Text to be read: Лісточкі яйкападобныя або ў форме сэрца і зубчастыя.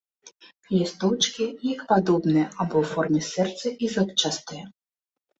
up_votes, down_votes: 0, 2